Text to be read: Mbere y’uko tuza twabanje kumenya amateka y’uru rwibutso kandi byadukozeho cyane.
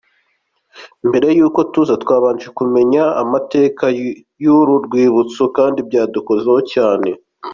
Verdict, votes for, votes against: accepted, 2, 1